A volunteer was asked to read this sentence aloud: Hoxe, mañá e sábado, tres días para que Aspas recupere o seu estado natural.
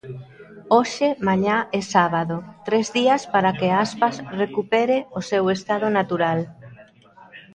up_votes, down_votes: 1, 2